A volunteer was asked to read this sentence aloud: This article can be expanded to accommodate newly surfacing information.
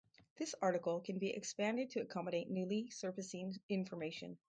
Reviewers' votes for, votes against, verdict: 2, 2, rejected